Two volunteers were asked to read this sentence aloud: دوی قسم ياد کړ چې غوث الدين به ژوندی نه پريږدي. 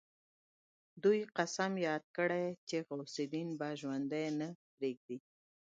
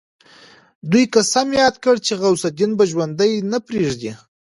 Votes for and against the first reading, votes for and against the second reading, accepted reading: 2, 0, 0, 2, first